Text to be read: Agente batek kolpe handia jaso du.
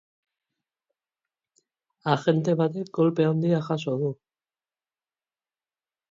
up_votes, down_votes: 0, 2